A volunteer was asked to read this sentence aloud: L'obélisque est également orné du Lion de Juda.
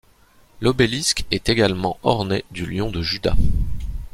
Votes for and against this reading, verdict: 2, 0, accepted